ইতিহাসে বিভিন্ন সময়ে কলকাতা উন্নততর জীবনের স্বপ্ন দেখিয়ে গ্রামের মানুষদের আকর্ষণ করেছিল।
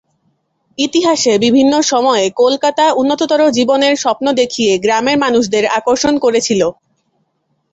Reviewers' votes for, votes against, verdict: 0, 2, rejected